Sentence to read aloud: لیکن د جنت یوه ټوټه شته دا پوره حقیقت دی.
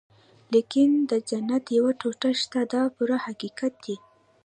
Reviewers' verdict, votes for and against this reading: rejected, 1, 2